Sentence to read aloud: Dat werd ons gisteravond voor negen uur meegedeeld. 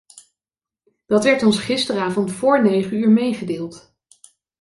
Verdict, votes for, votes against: accepted, 2, 0